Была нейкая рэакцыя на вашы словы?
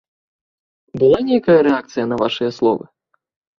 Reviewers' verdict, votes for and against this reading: rejected, 0, 2